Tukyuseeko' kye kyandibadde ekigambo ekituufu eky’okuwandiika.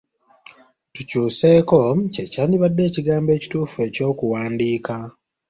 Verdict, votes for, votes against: accepted, 2, 0